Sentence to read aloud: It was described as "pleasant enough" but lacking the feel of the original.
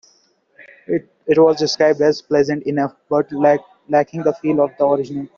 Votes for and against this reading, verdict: 2, 1, accepted